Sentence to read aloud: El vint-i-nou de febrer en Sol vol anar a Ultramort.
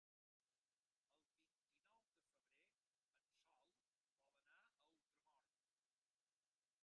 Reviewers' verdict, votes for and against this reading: rejected, 0, 2